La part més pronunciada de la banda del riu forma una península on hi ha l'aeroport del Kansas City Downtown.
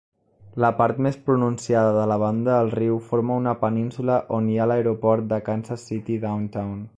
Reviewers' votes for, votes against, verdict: 0, 2, rejected